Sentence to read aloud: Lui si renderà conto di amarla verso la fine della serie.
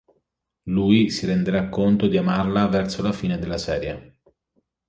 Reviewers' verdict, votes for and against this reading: accepted, 2, 0